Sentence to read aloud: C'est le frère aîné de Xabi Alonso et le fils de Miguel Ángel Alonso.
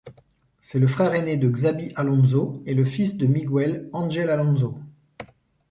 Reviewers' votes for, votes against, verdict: 1, 2, rejected